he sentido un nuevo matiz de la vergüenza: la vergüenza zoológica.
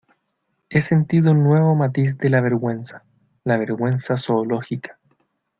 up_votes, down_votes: 2, 0